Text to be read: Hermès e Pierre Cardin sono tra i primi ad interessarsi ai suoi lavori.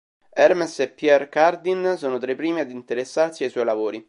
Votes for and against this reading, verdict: 2, 0, accepted